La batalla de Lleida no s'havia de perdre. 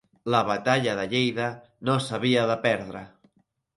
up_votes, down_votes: 2, 0